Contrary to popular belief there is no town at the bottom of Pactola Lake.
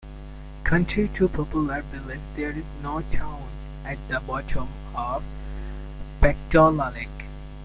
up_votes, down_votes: 0, 2